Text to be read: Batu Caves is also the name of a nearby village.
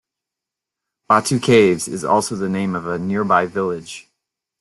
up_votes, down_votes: 2, 0